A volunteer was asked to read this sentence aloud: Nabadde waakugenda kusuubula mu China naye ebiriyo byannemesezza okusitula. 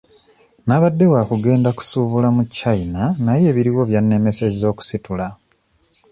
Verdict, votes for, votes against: accepted, 2, 0